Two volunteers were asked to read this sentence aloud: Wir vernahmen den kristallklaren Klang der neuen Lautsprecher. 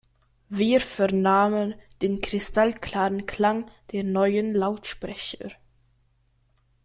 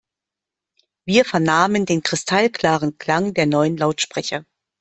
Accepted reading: second